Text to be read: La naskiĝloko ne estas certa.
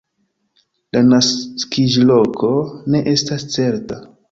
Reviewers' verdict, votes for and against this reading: rejected, 0, 2